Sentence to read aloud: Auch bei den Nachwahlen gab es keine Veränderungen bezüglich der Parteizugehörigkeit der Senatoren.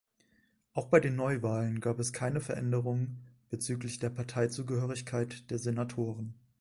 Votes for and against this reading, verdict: 0, 2, rejected